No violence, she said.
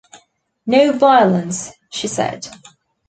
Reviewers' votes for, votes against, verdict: 2, 0, accepted